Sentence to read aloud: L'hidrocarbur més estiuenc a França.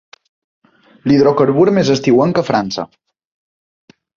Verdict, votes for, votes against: accepted, 2, 0